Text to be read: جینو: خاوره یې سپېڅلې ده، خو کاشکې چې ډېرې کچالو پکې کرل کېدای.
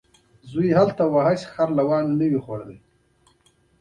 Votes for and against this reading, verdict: 0, 2, rejected